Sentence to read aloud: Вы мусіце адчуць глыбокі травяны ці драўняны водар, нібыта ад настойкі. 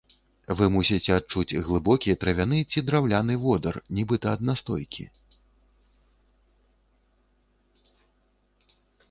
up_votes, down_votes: 0, 2